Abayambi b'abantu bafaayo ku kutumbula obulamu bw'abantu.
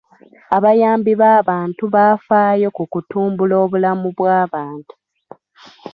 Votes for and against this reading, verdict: 0, 2, rejected